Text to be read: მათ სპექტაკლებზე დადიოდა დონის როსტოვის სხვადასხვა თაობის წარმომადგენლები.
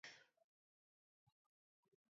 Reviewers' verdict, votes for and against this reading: rejected, 0, 2